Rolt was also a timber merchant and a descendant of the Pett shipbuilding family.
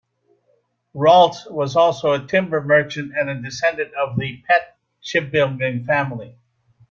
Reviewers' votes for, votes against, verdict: 2, 0, accepted